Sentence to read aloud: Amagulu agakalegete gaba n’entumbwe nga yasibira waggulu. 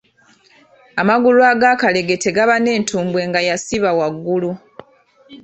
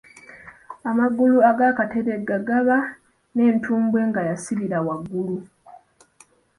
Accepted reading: first